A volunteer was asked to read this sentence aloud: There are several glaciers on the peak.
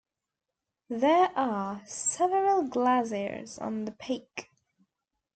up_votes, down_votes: 0, 2